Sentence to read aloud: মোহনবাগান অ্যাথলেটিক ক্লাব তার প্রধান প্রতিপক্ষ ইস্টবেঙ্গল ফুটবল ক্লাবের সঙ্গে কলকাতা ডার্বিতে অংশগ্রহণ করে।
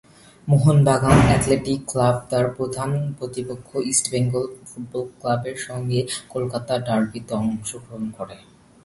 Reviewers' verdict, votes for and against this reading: accepted, 2, 0